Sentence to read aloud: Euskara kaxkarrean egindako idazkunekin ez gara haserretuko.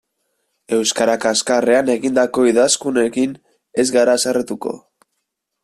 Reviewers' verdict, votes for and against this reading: accepted, 2, 0